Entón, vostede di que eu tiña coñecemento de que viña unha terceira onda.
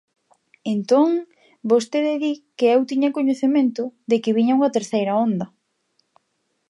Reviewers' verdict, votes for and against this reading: accepted, 2, 0